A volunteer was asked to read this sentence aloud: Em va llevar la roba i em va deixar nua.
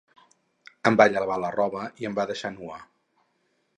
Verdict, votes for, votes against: accepted, 4, 0